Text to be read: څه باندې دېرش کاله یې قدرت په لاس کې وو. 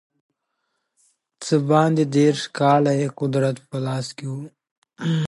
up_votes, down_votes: 2, 0